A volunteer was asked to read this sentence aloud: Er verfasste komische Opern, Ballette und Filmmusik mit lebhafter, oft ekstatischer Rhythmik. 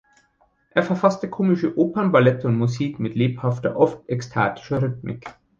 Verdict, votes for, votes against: rejected, 1, 2